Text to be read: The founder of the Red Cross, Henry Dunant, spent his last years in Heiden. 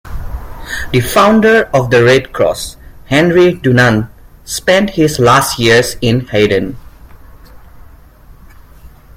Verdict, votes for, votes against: accepted, 2, 0